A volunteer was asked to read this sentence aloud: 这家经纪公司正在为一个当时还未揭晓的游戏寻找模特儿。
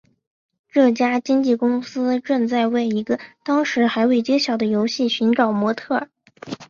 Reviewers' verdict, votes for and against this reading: accepted, 2, 0